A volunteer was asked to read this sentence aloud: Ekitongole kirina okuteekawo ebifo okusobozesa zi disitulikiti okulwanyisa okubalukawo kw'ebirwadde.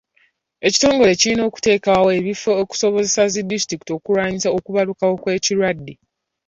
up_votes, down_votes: 2, 0